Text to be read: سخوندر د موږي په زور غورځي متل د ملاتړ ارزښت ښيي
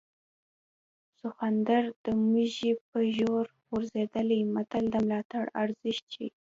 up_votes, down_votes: 2, 0